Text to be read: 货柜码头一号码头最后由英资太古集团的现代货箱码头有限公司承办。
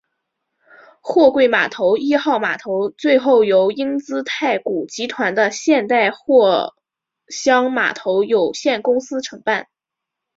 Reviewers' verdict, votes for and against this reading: accepted, 5, 0